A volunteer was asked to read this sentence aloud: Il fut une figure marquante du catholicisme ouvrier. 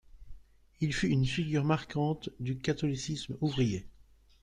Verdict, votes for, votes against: rejected, 1, 2